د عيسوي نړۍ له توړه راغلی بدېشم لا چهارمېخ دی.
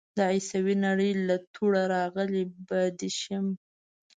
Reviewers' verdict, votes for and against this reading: rejected, 1, 2